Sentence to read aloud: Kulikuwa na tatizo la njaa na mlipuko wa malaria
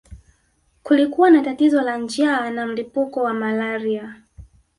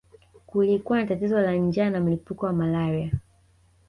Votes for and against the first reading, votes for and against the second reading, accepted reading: 3, 1, 0, 2, first